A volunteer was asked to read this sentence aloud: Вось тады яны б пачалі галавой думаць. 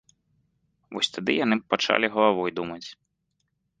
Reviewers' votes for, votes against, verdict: 0, 2, rejected